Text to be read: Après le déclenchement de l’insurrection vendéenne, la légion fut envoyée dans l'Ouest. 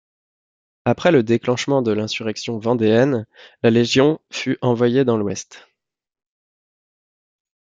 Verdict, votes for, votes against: accepted, 2, 0